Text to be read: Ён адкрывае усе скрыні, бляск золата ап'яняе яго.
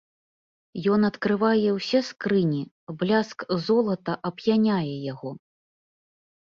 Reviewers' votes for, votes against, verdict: 2, 0, accepted